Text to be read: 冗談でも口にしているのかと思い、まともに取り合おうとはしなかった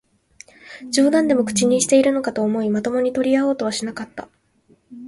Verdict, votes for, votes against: accepted, 4, 0